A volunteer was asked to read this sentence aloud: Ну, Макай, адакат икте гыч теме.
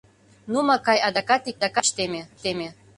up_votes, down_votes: 0, 2